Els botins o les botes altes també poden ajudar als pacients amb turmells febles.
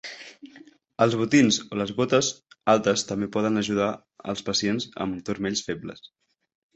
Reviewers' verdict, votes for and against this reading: accepted, 3, 1